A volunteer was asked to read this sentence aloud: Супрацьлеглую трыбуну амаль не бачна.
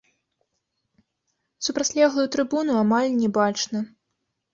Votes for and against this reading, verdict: 0, 2, rejected